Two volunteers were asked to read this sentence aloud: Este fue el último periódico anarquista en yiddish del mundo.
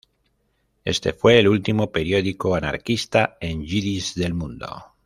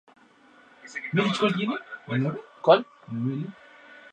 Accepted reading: second